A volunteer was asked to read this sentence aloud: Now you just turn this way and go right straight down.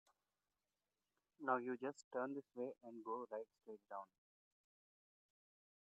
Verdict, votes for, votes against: rejected, 0, 2